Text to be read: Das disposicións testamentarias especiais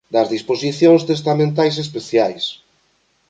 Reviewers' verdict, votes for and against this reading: rejected, 0, 2